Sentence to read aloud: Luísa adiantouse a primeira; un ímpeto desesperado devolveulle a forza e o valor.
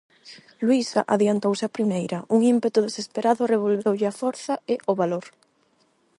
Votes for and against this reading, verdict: 0, 8, rejected